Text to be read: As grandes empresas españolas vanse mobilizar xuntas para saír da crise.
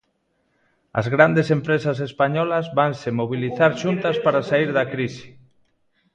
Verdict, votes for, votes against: accepted, 2, 0